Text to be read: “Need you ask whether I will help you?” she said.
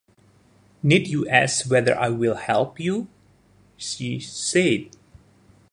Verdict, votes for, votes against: accepted, 2, 1